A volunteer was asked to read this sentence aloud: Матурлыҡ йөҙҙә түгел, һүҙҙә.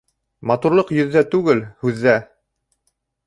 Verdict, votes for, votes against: rejected, 0, 2